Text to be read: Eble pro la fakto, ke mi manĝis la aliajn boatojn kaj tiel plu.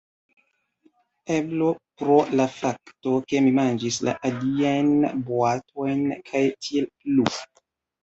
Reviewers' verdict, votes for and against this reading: accepted, 2, 1